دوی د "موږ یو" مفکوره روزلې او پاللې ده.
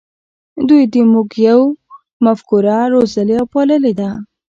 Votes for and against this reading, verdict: 1, 2, rejected